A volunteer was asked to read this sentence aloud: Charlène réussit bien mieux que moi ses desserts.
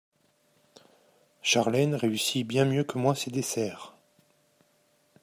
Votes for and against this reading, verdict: 2, 0, accepted